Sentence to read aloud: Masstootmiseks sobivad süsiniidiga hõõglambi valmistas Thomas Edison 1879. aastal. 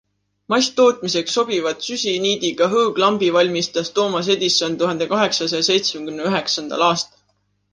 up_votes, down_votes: 0, 2